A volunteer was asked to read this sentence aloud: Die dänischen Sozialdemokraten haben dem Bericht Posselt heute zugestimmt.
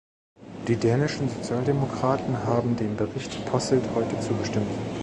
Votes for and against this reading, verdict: 1, 2, rejected